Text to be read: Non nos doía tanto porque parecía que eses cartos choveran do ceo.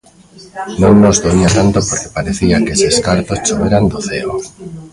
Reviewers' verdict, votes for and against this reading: rejected, 1, 2